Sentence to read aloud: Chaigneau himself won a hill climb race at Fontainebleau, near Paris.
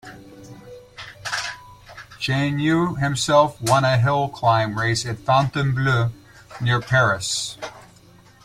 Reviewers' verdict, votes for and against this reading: accepted, 2, 0